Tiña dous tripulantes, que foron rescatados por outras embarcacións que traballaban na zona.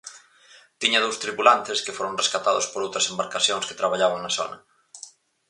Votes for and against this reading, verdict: 4, 0, accepted